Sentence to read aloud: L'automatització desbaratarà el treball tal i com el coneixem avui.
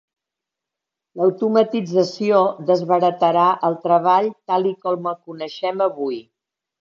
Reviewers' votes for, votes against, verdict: 2, 0, accepted